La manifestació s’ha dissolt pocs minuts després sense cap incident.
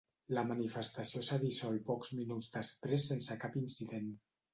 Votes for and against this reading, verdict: 5, 0, accepted